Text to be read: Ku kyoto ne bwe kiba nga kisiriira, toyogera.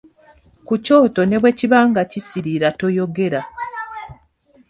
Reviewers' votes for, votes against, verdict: 0, 2, rejected